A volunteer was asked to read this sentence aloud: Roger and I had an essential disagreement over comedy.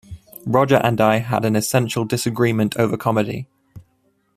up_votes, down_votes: 2, 0